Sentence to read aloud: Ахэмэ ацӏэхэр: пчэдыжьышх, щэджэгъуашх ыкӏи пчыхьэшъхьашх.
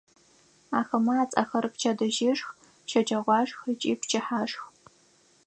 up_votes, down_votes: 0, 4